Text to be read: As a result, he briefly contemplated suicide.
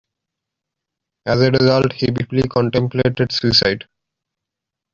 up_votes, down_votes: 2, 0